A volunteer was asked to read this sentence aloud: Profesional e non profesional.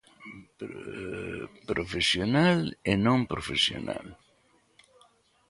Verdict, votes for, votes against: rejected, 1, 2